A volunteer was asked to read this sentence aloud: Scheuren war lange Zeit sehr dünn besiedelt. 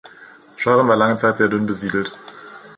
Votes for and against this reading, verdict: 2, 0, accepted